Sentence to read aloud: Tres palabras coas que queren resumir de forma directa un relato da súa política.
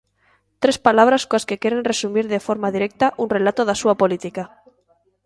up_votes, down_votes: 2, 0